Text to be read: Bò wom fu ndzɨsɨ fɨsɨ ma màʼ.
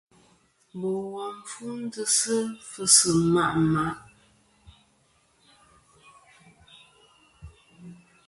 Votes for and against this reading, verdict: 2, 1, accepted